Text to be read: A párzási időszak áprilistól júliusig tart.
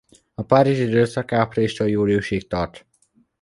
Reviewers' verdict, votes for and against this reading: rejected, 0, 2